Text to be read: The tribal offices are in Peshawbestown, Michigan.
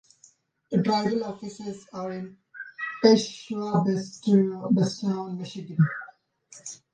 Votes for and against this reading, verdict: 0, 2, rejected